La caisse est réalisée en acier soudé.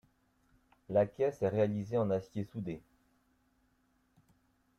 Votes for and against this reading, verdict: 1, 2, rejected